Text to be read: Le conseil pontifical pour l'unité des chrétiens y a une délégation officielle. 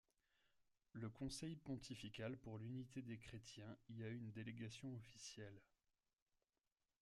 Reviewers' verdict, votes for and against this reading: accepted, 2, 1